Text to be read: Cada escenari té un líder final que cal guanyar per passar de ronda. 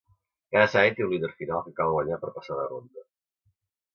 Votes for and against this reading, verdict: 1, 2, rejected